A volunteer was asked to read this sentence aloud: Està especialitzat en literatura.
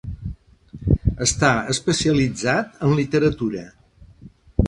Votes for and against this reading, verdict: 2, 0, accepted